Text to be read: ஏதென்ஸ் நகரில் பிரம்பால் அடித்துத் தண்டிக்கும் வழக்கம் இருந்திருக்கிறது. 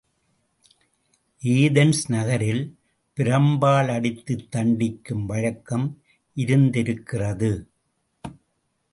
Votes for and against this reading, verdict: 1, 2, rejected